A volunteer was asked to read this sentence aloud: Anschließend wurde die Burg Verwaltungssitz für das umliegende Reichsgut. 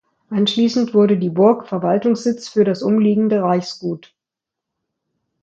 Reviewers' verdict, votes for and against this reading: accepted, 2, 0